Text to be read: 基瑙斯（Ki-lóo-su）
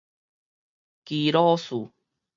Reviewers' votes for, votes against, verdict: 2, 2, rejected